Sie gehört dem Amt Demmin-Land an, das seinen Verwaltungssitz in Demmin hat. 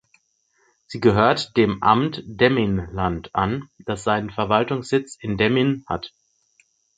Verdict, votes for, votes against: accepted, 6, 2